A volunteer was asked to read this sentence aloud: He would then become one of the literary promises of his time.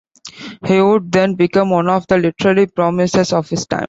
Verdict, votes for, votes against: accepted, 2, 0